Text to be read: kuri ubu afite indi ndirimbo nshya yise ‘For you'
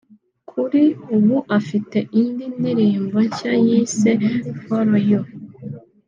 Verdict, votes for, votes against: accepted, 2, 0